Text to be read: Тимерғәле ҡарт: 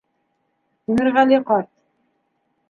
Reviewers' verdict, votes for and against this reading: rejected, 1, 2